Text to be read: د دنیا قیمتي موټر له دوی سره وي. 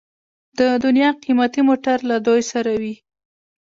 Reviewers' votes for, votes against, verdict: 1, 2, rejected